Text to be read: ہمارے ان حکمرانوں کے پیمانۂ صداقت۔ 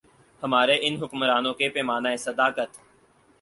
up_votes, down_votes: 4, 0